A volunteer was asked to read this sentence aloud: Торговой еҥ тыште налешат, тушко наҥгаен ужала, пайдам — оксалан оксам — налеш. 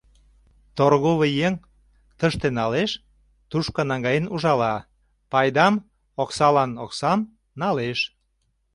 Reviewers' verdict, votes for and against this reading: rejected, 0, 2